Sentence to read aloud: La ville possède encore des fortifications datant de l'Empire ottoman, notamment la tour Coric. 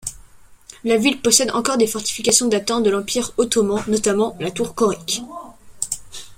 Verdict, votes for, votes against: accepted, 2, 0